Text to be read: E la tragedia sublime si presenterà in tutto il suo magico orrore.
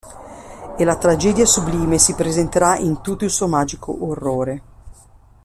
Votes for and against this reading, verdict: 2, 0, accepted